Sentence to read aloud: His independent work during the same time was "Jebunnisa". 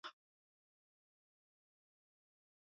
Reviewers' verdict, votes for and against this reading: rejected, 0, 2